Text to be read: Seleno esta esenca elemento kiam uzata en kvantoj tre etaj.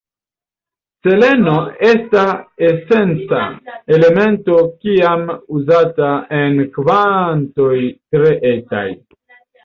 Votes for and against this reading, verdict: 1, 2, rejected